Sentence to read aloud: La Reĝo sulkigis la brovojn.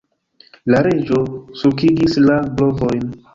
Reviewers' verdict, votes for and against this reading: accepted, 2, 1